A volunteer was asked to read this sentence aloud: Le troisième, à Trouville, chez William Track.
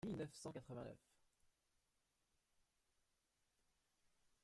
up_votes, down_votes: 0, 2